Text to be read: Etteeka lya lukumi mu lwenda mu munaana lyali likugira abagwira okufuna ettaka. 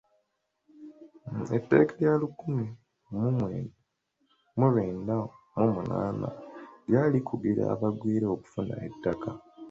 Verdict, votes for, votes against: rejected, 0, 2